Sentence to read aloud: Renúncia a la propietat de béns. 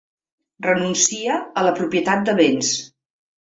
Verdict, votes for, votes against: rejected, 1, 2